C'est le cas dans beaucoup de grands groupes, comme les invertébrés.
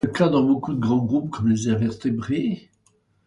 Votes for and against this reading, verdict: 1, 2, rejected